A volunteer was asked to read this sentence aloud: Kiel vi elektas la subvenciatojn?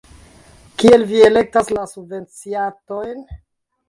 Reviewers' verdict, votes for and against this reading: rejected, 0, 2